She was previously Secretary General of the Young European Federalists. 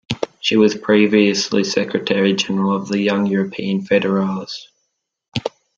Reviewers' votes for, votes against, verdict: 0, 2, rejected